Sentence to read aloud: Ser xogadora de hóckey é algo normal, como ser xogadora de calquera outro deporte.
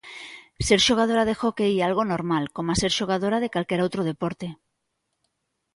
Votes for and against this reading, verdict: 2, 0, accepted